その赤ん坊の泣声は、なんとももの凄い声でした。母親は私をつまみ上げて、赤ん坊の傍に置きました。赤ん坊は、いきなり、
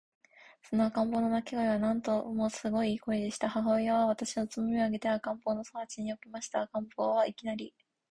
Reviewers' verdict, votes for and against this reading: rejected, 0, 3